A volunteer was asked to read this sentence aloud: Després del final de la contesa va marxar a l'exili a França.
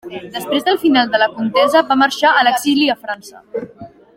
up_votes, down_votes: 3, 1